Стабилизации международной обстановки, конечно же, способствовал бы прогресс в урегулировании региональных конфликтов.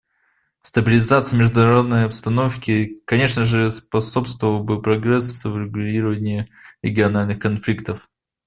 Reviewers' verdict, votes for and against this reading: accepted, 2, 0